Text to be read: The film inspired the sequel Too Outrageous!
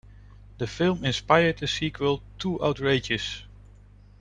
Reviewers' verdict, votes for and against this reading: accepted, 2, 0